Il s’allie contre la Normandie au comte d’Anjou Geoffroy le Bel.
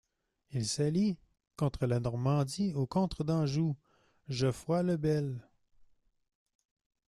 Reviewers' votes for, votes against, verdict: 0, 2, rejected